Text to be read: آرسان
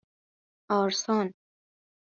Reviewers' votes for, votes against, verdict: 2, 0, accepted